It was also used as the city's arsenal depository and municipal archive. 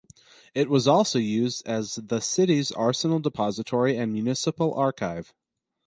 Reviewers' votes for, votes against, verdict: 4, 0, accepted